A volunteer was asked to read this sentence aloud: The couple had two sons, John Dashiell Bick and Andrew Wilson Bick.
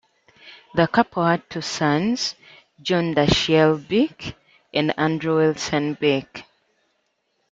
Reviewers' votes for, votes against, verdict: 2, 0, accepted